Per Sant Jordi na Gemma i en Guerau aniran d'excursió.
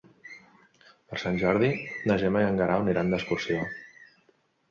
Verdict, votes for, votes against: rejected, 0, 2